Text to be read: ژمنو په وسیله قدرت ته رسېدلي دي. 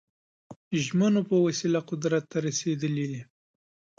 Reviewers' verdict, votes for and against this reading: accepted, 2, 0